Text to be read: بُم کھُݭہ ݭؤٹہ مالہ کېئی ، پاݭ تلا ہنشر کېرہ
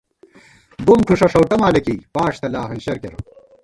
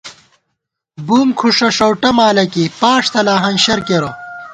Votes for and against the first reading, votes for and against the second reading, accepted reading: 0, 2, 2, 0, second